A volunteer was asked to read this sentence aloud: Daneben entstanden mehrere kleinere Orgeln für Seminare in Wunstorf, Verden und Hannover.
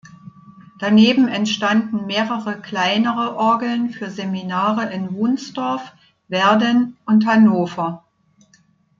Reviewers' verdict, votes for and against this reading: rejected, 1, 2